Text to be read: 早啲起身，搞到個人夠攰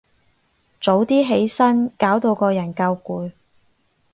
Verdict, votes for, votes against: accepted, 4, 0